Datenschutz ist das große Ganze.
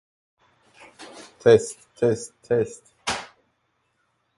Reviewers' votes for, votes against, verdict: 0, 2, rejected